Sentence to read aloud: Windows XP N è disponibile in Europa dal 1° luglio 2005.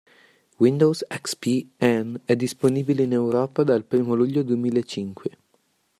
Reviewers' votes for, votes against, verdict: 0, 2, rejected